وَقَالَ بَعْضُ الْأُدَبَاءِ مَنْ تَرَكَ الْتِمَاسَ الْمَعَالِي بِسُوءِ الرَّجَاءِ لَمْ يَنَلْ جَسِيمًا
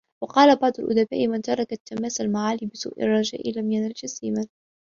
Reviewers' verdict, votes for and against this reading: accepted, 2, 0